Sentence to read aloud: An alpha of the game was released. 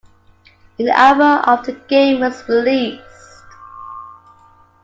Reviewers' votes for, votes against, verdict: 2, 0, accepted